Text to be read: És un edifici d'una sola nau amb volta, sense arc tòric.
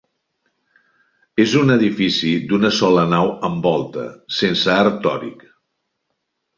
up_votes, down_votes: 2, 0